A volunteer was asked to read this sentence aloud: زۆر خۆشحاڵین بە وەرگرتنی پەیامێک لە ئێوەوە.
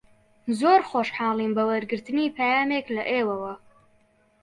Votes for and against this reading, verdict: 2, 0, accepted